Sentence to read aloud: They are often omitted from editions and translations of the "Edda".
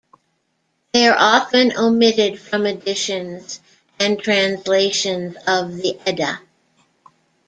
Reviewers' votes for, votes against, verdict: 1, 2, rejected